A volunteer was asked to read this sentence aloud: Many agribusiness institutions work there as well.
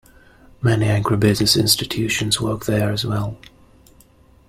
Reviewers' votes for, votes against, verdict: 2, 0, accepted